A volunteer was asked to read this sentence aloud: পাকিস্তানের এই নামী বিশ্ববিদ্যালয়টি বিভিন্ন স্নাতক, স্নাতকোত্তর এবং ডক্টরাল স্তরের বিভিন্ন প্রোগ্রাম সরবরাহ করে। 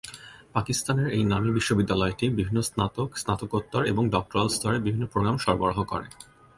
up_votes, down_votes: 2, 0